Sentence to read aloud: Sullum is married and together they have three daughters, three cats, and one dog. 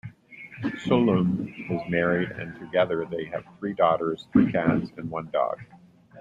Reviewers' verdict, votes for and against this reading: rejected, 0, 2